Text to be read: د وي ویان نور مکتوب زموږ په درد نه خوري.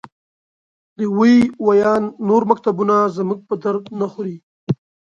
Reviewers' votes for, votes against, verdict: 1, 2, rejected